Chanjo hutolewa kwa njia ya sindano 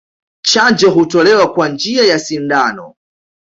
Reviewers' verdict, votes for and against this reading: accepted, 2, 0